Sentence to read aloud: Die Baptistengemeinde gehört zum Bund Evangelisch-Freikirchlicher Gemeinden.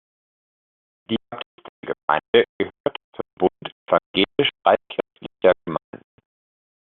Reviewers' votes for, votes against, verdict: 0, 2, rejected